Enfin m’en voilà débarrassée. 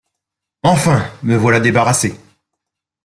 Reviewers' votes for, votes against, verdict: 1, 2, rejected